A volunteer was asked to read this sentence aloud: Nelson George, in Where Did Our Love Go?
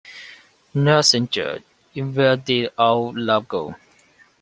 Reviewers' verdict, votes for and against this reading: accepted, 2, 0